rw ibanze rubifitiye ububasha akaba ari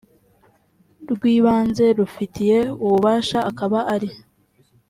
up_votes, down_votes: 2, 0